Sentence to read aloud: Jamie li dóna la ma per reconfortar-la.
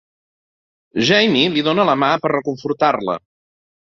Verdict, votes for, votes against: accepted, 2, 0